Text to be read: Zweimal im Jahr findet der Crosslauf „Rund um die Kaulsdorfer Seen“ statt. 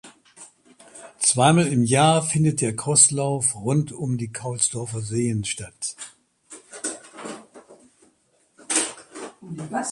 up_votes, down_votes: 0, 2